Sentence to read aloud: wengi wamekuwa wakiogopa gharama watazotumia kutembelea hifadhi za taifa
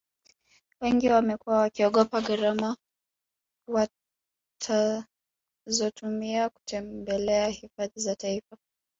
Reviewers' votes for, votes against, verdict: 0, 2, rejected